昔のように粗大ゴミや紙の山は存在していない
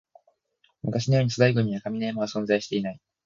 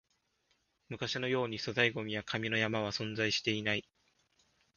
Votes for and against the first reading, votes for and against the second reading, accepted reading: 0, 3, 2, 0, second